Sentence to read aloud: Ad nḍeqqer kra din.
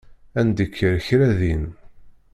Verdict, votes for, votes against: rejected, 1, 2